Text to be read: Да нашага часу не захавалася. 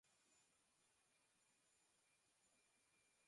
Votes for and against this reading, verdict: 0, 3, rejected